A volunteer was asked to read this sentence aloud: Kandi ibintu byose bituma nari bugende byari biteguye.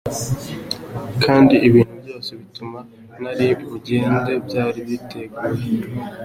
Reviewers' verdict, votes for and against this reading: accepted, 2, 0